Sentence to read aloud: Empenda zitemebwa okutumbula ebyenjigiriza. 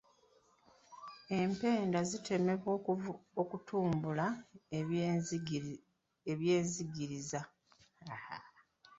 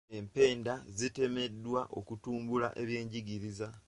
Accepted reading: second